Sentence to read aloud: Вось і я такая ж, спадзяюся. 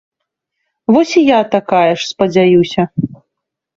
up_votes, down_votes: 2, 0